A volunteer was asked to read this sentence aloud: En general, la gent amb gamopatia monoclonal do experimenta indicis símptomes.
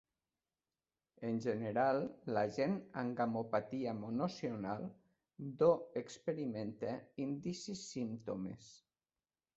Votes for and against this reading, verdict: 1, 2, rejected